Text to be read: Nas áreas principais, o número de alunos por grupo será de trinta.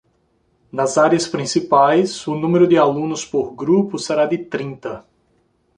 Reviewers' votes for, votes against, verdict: 2, 0, accepted